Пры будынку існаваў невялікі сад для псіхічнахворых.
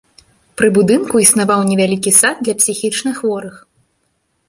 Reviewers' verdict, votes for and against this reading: accepted, 2, 0